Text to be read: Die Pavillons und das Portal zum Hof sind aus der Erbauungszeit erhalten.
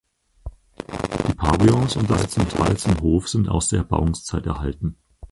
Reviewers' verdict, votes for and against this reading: rejected, 2, 4